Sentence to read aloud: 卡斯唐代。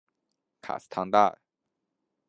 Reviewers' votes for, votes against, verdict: 2, 0, accepted